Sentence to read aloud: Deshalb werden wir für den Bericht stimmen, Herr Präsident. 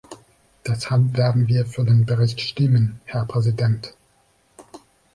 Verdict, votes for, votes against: accepted, 2, 1